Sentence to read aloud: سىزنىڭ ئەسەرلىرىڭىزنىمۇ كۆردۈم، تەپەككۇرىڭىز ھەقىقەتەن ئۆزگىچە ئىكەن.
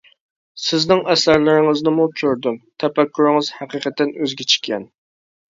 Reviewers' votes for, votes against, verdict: 2, 0, accepted